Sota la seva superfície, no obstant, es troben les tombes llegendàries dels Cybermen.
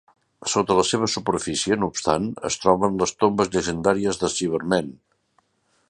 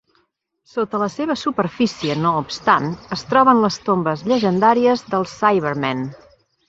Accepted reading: second